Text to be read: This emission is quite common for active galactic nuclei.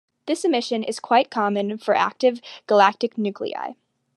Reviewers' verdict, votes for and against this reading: accepted, 2, 1